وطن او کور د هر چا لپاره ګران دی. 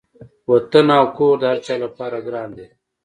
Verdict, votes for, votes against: accepted, 2, 0